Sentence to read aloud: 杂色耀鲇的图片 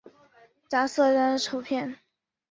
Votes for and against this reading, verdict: 1, 2, rejected